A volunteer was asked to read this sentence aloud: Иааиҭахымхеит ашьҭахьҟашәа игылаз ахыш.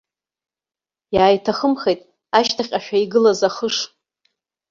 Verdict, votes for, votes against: rejected, 1, 2